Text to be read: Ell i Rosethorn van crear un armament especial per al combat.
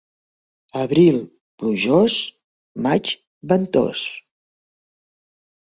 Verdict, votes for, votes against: rejected, 0, 3